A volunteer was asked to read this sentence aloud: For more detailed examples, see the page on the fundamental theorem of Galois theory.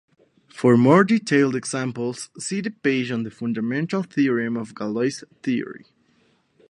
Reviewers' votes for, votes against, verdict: 0, 2, rejected